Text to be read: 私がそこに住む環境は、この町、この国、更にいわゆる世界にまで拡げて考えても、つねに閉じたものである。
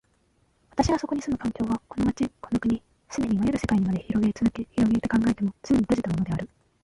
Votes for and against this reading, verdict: 9, 11, rejected